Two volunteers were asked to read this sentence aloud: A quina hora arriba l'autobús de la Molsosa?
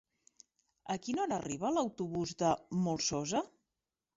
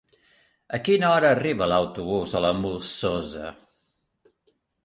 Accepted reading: second